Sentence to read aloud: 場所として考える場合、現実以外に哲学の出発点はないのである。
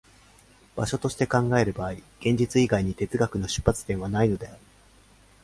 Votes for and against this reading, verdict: 2, 0, accepted